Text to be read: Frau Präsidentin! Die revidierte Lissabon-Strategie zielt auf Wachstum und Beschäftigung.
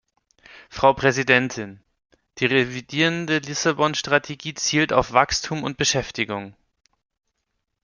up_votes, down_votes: 0, 2